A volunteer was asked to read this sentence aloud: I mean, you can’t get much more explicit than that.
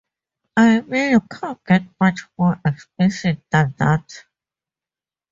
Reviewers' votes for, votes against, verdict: 0, 2, rejected